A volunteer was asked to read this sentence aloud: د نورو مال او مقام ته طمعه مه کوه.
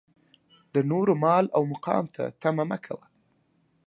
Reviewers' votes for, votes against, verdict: 0, 2, rejected